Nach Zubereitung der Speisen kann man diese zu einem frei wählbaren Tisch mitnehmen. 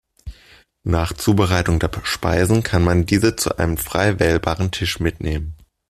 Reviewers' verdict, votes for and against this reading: rejected, 1, 2